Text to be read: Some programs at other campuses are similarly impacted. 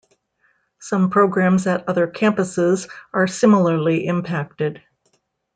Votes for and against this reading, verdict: 2, 1, accepted